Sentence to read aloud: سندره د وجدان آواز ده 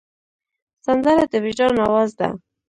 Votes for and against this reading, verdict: 2, 0, accepted